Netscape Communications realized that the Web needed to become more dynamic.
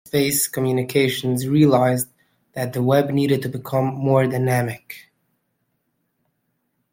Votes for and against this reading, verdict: 0, 2, rejected